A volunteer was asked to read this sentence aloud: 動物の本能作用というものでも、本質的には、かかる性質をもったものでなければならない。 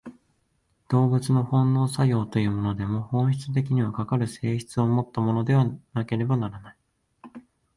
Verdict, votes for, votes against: rejected, 1, 2